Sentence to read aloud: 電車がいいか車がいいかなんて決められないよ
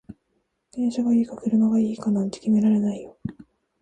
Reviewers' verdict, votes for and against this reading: rejected, 0, 2